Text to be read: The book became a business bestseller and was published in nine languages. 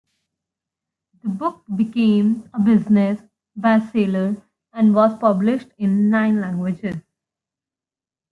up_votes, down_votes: 2, 0